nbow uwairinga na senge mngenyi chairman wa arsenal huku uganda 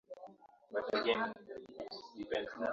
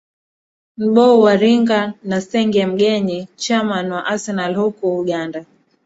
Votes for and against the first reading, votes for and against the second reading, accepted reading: 0, 8, 2, 1, second